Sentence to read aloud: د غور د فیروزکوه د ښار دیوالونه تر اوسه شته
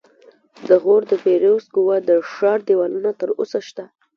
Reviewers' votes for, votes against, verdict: 1, 2, rejected